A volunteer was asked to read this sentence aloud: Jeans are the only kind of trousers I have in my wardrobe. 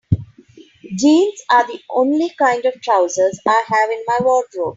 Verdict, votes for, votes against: accepted, 3, 0